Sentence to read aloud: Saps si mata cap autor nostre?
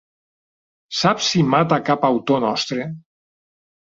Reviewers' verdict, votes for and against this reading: rejected, 1, 2